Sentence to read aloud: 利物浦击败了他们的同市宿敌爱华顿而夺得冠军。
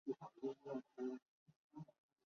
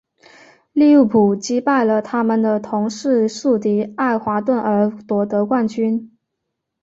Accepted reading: second